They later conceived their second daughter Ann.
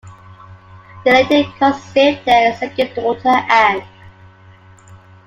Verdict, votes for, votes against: rejected, 0, 2